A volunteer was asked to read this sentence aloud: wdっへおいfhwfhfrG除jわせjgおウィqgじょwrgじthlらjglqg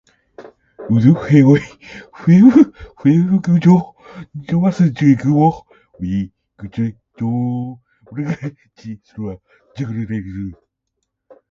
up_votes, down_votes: 2, 0